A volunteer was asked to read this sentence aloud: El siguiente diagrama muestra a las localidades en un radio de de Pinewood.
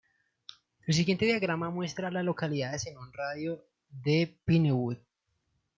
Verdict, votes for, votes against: rejected, 1, 2